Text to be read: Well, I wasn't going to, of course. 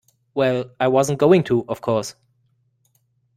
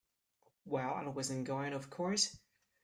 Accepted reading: first